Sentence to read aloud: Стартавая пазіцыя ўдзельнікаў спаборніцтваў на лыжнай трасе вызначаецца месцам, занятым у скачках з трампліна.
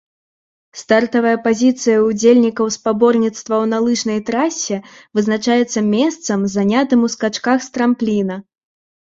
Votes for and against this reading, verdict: 2, 0, accepted